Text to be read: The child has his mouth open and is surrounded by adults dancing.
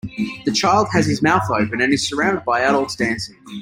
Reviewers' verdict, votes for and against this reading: accepted, 2, 1